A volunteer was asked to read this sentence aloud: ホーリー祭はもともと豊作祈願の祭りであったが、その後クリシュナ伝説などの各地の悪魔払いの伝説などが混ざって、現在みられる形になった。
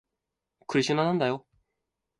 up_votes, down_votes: 1, 2